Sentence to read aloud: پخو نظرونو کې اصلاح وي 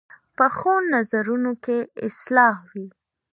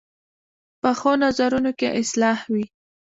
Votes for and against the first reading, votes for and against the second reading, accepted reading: 2, 0, 1, 2, first